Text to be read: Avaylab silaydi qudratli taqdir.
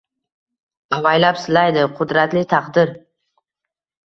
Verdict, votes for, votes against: accepted, 2, 0